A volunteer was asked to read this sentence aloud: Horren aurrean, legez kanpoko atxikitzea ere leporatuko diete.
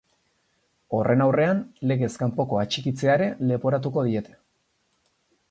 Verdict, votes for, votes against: accepted, 4, 0